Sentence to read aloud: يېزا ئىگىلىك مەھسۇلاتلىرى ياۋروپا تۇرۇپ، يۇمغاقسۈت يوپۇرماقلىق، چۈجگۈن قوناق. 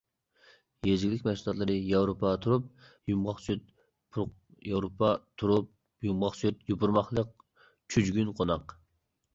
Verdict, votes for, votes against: rejected, 0, 2